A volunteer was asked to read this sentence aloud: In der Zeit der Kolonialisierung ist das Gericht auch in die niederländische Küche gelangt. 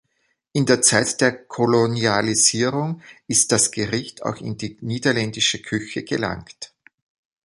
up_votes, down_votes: 2, 0